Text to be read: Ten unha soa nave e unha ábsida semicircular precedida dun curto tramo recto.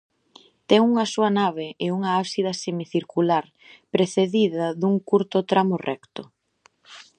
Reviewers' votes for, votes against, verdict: 2, 0, accepted